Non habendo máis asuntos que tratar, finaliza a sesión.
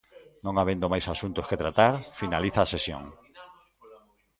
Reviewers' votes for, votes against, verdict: 1, 2, rejected